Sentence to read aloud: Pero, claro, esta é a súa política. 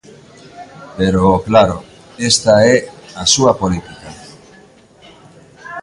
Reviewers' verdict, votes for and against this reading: rejected, 1, 2